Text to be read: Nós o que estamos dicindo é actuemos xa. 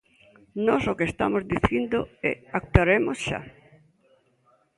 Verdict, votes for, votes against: rejected, 0, 2